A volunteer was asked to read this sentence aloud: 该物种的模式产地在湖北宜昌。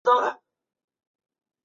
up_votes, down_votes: 0, 2